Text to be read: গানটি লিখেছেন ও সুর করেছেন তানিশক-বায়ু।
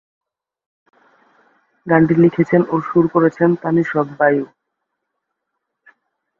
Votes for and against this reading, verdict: 0, 2, rejected